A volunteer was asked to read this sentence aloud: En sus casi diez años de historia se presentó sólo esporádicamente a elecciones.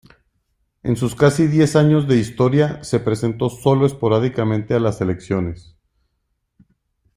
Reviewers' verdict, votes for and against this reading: rejected, 0, 3